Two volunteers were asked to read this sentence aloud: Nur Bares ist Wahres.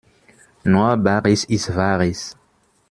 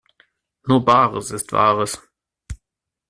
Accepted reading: second